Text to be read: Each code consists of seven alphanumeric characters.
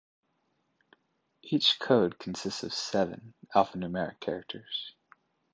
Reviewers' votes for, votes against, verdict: 2, 0, accepted